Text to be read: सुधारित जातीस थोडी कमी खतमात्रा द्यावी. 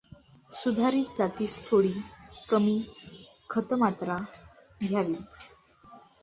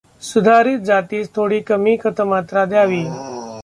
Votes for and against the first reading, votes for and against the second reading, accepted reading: 2, 0, 1, 2, first